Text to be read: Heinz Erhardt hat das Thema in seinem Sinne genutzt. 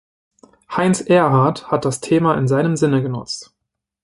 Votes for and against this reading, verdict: 2, 0, accepted